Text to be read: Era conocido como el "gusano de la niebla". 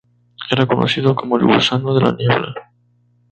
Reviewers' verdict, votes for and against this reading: accepted, 2, 0